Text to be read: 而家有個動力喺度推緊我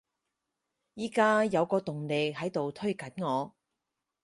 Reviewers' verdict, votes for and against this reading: rejected, 2, 4